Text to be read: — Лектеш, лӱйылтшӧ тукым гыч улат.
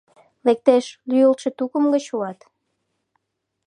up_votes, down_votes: 2, 0